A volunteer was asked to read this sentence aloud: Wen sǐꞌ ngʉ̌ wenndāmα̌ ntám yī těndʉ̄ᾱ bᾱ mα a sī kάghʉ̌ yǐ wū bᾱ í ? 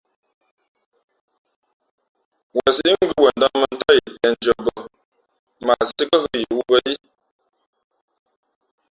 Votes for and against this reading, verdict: 0, 2, rejected